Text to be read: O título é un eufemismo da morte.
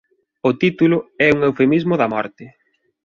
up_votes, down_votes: 2, 0